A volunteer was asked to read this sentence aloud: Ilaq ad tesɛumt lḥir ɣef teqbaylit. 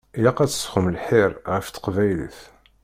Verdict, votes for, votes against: rejected, 0, 2